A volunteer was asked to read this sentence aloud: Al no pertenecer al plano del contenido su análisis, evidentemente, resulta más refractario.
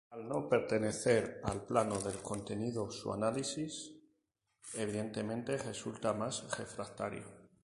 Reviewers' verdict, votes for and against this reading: rejected, 0, 2